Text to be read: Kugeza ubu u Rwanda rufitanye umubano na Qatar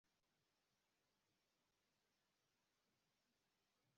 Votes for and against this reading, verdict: 1, 2, rejected